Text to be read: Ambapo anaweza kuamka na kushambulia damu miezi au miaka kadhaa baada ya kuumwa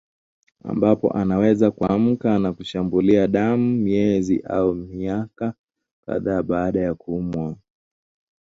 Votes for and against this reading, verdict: 4, 1, accepted